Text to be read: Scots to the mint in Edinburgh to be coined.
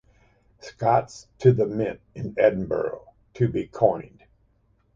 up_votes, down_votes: 2, 0